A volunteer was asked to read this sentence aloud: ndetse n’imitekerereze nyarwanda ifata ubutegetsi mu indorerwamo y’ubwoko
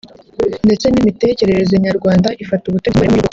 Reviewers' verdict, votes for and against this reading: rejected, 0, 2